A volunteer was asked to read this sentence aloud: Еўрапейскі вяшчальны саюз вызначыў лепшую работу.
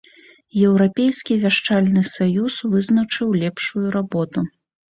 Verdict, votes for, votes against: accepted, 2, 0